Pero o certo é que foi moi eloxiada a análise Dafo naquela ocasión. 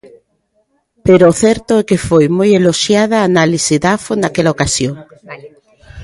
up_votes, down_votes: 2, 0